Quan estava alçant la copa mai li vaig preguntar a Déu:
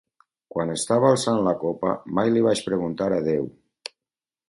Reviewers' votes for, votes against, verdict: 4, 0, accepted